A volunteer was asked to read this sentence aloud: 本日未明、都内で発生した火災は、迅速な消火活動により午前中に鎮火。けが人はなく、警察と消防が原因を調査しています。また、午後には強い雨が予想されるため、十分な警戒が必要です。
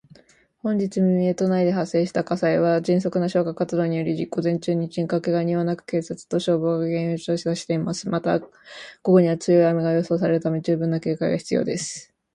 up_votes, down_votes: 2, 0